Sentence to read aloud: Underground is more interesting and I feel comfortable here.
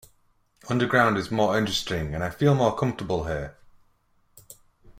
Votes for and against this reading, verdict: 0, 2, rejected